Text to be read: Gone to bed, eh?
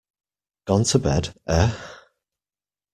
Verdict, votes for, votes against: rejected, 1, 2